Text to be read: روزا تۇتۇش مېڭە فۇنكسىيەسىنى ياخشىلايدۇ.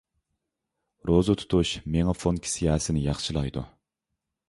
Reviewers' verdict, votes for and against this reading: accepted, 2, 0